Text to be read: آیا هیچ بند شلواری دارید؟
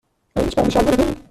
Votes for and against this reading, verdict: 1, 2, rejected